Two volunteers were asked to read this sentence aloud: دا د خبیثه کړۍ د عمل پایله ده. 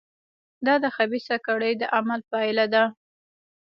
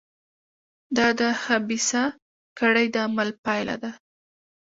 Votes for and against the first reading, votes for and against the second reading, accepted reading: 1, 2, 2, 1, second